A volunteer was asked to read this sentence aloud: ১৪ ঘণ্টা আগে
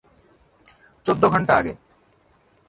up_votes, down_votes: 0, 2